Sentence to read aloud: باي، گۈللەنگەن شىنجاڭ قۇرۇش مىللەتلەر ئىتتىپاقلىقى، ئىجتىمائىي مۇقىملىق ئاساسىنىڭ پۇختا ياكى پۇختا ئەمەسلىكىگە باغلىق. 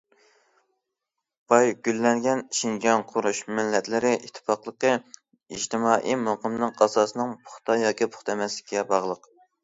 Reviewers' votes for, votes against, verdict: 1, 2, rejected